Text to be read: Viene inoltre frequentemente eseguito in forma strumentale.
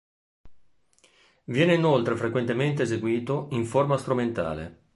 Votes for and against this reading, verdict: 5, 0, accepted